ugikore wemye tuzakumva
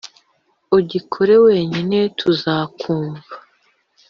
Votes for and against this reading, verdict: 0, 2, rejected